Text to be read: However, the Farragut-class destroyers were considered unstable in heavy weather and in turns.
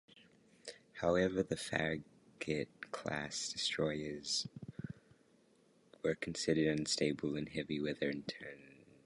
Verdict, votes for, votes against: rejected, 1, 2